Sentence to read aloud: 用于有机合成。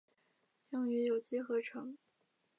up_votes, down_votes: 0, 2